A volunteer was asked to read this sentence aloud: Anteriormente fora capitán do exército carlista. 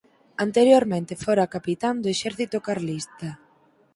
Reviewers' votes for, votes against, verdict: 4, 0, accepted